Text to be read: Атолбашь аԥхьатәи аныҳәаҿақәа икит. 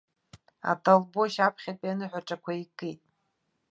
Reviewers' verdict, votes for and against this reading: accepted, 2, 1